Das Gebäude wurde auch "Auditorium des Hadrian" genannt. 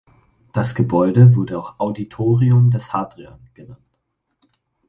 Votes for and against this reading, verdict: 4, 0, accepted